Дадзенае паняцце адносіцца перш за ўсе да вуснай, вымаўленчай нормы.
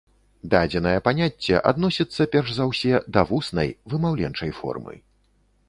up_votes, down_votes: 1, 2